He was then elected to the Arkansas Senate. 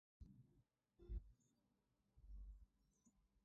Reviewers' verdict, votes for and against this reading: rejected, 0, 2